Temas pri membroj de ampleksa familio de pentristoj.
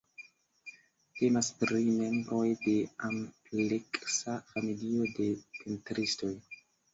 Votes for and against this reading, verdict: 0, 2, rejected